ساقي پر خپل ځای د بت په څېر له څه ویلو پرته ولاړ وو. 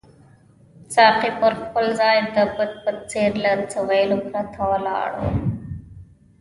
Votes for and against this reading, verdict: 0, 2, rejected